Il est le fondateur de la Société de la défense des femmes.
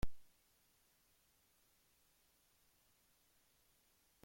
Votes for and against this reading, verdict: 0, 2, rejected